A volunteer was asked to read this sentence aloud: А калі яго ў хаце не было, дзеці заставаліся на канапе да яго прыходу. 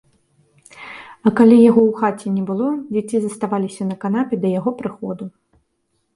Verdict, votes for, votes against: accepted, 2, 0